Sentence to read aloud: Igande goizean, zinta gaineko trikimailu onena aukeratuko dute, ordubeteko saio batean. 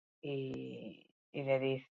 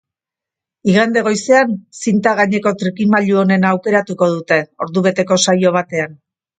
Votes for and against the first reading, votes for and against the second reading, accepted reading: 0, 4, 2, 0, second